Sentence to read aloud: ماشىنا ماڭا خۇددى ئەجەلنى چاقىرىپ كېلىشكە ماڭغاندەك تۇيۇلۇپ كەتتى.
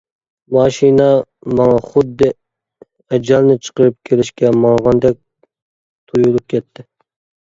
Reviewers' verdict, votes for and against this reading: rejected, 0, 2